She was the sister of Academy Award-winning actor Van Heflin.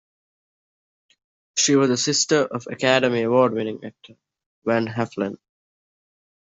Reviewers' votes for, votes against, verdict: 1, 2, rejected